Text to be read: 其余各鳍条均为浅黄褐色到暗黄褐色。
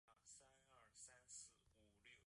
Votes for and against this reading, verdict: 0, 2, rejected